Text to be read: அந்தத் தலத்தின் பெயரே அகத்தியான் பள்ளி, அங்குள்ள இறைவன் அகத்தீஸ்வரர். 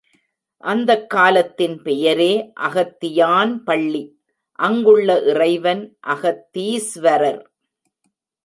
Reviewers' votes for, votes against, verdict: 0, 2, rejected